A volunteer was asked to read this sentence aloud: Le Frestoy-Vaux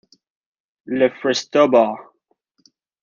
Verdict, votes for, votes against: rejected, 0, 2